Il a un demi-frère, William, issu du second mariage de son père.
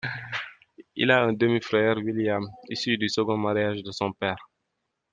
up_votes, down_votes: 2, 0